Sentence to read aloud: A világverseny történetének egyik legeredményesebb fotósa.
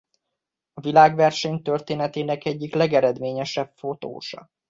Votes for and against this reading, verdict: 2, 0, accepted